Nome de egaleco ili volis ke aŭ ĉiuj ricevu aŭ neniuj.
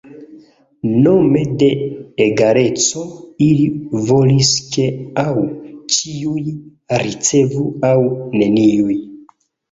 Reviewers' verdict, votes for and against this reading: accepted, 2, 0